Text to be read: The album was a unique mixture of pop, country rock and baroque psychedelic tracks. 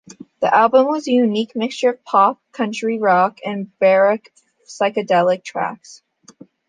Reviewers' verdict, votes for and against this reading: accepted, 2, 1